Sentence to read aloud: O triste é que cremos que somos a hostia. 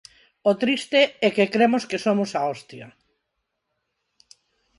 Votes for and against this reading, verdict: 4, 0, accepted